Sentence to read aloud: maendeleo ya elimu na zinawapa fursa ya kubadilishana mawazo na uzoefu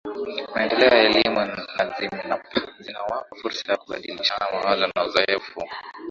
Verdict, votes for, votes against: rejected, 1, 2